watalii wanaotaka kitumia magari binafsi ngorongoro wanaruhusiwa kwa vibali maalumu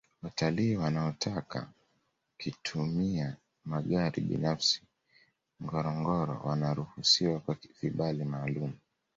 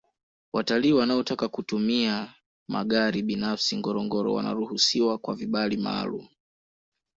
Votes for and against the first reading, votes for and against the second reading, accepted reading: 2, 0, 0, 2, first